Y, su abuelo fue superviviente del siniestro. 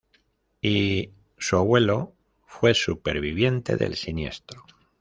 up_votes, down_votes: 2, 0